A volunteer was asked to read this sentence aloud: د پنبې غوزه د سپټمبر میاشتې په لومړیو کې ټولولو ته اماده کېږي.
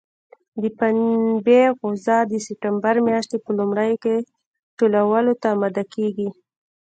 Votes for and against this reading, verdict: 2, 1, accepted